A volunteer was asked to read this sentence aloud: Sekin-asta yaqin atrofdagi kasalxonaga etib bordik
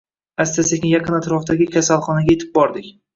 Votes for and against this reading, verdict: 1, 2, rejected